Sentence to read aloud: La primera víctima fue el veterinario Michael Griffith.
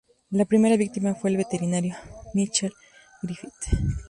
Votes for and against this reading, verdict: 2, 0, accepted